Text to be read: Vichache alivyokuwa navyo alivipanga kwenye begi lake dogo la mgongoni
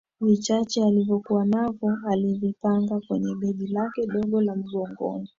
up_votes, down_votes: 2, 0